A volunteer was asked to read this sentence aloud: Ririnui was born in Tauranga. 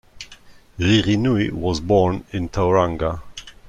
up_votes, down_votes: 1, 2